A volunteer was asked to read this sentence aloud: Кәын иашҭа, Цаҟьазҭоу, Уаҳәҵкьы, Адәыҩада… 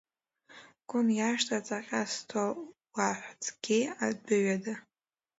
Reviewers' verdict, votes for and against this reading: rejected, 1, 2